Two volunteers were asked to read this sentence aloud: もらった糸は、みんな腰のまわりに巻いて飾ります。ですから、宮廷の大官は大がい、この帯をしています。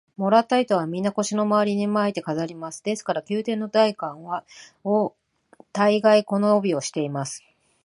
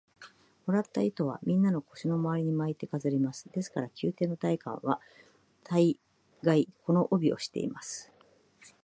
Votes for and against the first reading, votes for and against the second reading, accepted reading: 1, 2, 2, 1, second